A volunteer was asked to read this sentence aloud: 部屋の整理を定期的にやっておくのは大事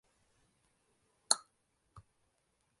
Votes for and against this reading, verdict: 0, 7, rejected